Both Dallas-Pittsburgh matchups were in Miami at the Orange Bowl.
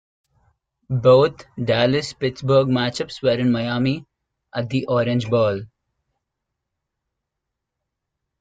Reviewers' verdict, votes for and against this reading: accepted, 2, 0